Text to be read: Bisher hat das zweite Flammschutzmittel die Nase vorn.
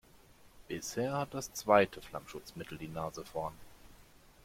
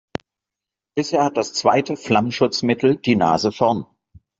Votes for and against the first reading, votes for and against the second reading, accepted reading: 0, 2, 2, 0, second